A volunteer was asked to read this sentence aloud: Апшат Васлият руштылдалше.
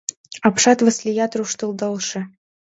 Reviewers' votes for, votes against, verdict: 2, 0, accepted